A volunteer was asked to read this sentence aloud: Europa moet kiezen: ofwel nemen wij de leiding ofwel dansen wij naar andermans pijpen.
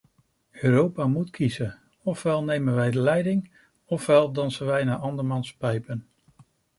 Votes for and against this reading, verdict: 2, 0, accepted